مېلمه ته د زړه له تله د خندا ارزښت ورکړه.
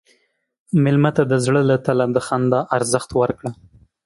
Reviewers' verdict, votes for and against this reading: accepted, 2, 0